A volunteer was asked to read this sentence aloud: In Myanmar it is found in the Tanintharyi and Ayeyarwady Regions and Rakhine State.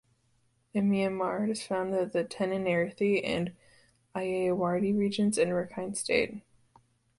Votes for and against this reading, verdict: 2, 0, accepted